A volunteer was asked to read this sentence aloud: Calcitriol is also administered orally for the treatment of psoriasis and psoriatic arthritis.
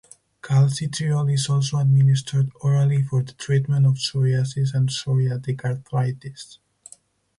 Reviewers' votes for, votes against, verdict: 6, 2, accepted